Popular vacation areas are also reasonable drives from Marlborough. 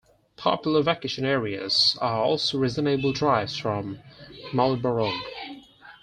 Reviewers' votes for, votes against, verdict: 4, 0, accepted